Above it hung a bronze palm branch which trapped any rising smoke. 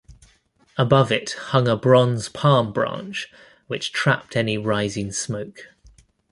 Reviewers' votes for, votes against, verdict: 2, 0, accepted